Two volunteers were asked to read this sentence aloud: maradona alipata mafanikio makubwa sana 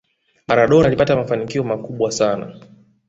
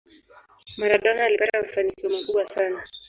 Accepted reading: first